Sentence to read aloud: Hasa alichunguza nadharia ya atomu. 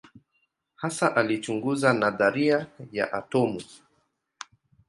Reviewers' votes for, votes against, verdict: 2, 0, accepted